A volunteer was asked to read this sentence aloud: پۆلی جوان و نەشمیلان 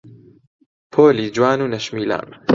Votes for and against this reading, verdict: 2, 1, accepted